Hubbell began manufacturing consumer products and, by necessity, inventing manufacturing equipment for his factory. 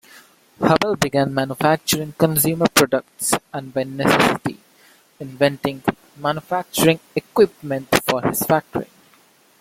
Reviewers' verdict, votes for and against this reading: rejected, 0, 2